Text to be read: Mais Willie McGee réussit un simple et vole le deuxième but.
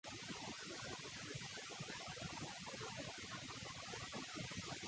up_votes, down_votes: 0, 2